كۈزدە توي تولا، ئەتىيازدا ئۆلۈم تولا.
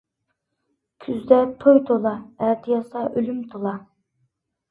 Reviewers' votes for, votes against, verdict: 2, 0, accepted